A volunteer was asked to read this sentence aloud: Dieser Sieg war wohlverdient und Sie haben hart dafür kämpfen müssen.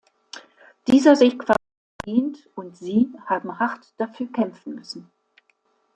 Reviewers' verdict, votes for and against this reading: rejected, 1, 2